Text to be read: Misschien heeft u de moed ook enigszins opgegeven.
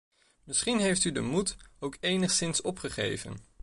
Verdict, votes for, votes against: accepted, 2, 0